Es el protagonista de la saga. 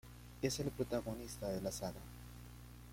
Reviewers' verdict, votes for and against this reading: rejected, 1, 2